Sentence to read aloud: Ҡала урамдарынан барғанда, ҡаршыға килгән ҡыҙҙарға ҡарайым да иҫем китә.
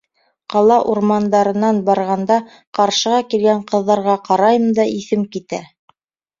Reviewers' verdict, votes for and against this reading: accepted, 2, 0